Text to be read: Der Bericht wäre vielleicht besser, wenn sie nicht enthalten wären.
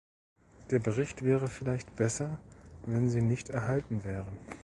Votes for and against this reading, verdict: 0, 2, rejected